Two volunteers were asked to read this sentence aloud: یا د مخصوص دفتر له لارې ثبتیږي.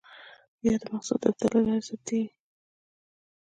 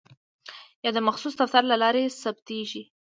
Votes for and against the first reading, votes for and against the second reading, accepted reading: 1, 2, 2, 0, second